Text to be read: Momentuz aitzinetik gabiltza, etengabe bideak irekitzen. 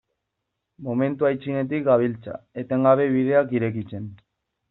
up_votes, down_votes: 0, 2